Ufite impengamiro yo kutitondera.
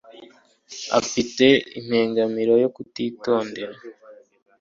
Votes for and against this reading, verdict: 2, 0, accepted